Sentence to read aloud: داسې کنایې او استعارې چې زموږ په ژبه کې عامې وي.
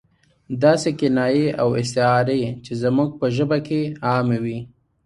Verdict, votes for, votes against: accepted, 2, 0